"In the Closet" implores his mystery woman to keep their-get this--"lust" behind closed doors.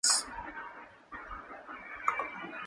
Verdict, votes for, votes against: rejected, 0, 2